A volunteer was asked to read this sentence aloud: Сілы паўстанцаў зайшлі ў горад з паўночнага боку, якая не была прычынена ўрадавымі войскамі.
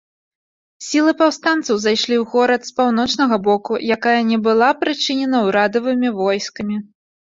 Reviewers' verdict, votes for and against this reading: accepted, 2, 0